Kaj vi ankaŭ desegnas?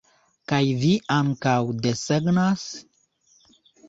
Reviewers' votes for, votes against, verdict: 2, 0, accepted